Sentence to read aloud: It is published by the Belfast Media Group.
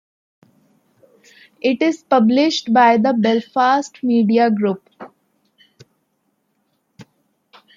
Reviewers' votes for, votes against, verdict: 2, 1, accepted